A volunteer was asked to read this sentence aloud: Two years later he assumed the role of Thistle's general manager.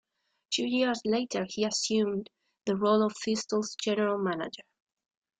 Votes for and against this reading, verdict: 2, 1, accepted